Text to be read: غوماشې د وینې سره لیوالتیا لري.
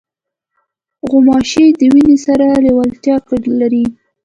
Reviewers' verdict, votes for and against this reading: accepted, 2, 0